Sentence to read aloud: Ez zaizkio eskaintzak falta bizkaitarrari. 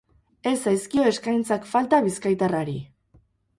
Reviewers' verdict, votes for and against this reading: rejected, 0, 2